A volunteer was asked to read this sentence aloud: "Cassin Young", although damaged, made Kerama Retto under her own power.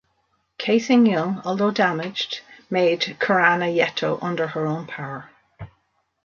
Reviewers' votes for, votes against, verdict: 2, 0, accepted